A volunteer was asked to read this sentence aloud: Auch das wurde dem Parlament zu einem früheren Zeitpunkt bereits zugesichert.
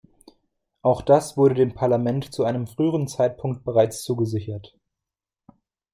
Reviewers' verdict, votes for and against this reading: accepted, 2, 0